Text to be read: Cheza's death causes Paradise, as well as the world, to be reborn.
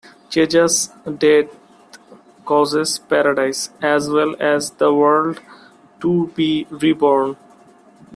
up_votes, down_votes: 0, 2